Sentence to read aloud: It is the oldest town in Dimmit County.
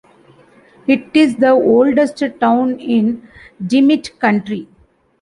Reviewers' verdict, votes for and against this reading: rejected, 1, 2